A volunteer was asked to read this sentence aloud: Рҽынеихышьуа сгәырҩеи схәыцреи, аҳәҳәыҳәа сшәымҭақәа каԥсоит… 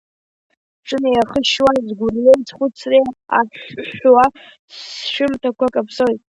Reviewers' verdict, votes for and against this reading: rejected, 0, 2